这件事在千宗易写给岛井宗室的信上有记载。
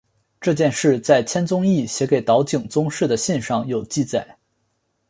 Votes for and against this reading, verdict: 4, 1, accepted